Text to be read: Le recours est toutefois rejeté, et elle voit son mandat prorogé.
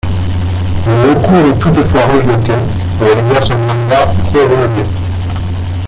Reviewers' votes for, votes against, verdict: 0, 2, rejected